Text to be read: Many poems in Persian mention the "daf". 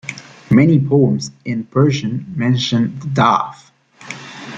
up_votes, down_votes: 0, 2